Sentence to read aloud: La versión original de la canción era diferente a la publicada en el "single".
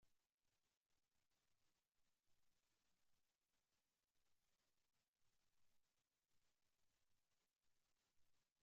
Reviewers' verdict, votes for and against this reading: rejected, 0, 2